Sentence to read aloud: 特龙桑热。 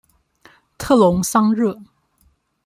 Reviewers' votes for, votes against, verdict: 2, 0, accepted